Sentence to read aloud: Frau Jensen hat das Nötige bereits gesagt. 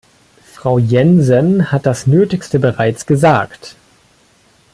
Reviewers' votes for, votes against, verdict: 1, 2, rejected